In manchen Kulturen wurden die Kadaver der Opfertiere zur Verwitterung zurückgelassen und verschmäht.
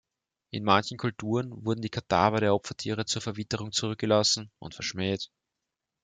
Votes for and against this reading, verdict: 4, 0, accepted